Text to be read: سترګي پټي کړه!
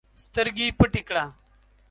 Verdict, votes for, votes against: accepted, 2, 0